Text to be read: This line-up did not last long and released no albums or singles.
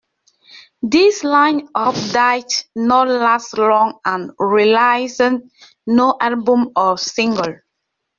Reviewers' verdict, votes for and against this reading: rejected, 0, 2